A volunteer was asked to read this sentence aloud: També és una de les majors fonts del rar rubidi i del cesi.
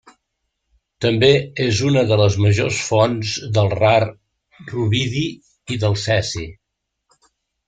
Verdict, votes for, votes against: rejected, 0, 2